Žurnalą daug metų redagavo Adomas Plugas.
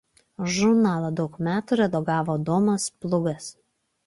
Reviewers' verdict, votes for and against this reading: accepted, 2, 0